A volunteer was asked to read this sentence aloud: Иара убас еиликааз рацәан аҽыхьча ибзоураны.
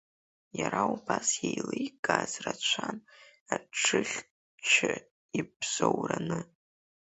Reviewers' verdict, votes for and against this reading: rejected, 0, 3